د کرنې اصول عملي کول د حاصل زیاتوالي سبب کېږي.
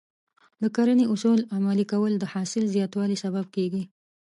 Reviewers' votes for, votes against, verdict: 2, 0, accepted